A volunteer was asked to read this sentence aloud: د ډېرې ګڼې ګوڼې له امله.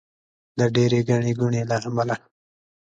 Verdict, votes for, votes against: accepted, 2, 0